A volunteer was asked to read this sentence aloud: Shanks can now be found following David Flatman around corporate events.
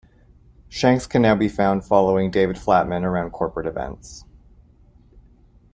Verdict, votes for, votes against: accepted, 2, 0